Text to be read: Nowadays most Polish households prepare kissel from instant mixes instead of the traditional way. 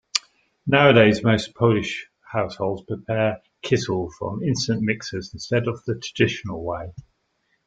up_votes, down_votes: 2, 0